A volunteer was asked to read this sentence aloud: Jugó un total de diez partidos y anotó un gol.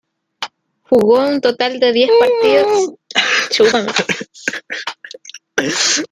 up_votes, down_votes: 0, 2